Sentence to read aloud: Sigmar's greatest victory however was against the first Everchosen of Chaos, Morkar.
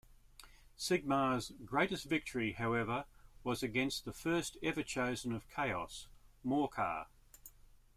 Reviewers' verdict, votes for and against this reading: accepted, 2, 0